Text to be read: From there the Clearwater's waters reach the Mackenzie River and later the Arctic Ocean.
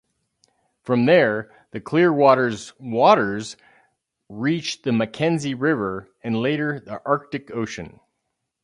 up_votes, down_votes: 2, 0